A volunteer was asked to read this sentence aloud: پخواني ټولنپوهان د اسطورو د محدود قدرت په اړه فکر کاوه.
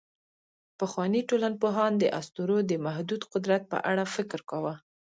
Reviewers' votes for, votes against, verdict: 1, 2, rejected